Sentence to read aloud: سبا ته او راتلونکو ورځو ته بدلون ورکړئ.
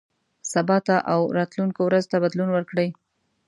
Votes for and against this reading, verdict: 2, 0, accepted